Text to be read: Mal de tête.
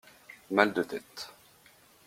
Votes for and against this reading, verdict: 2, 0, accepted